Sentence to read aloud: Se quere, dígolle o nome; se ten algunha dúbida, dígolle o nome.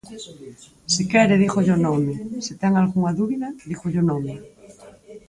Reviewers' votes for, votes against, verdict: 4, 2, accepted